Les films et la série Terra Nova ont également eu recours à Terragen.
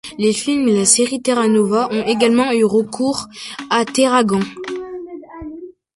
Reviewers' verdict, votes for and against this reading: rejected, 0, 2